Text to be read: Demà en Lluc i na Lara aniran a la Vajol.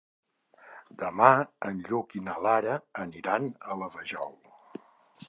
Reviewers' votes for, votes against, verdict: 4, 0, accepted